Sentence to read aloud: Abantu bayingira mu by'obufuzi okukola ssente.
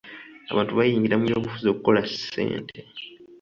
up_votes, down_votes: 2, 0